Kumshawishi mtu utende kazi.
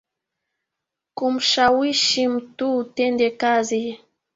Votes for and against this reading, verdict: 0, 2, rejected